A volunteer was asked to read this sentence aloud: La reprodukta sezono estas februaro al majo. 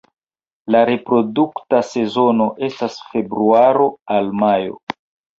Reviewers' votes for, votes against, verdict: 2, 0, accepted